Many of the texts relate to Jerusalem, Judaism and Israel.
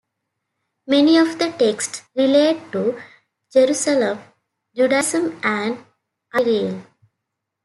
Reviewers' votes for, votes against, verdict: 1, 2, rejected